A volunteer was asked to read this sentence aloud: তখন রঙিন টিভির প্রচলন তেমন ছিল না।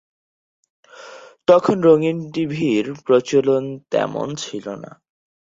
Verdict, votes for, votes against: rejected, 0, 2